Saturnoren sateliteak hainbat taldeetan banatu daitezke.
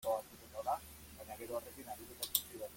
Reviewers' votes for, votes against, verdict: 0, 2, rejected